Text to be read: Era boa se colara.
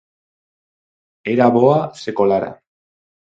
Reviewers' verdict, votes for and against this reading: accepted, 4, 0